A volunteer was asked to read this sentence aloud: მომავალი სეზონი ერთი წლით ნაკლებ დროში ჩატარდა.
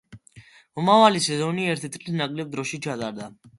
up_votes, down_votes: 2, 0